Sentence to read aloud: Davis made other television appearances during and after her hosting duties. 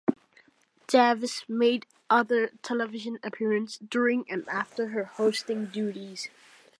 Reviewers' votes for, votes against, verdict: 1, 2, rejected